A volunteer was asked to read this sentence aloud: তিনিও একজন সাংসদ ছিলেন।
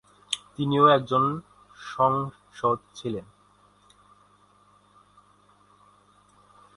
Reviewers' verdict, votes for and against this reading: rejected, 0, 5